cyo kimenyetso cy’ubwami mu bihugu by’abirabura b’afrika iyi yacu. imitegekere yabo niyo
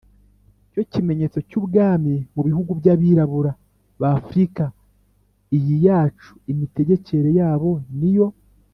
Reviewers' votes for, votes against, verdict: 2, 0, accepted